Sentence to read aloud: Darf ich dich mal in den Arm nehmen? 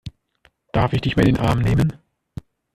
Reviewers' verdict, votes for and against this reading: rejected, 0, 2